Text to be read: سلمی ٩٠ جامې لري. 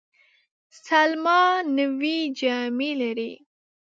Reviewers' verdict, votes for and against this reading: rejected, 0, 2